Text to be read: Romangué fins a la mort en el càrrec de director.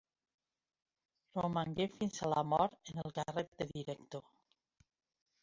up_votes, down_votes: 1, 2